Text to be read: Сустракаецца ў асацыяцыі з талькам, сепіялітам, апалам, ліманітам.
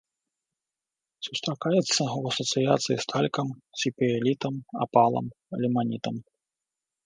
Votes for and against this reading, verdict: 2, 0, accepted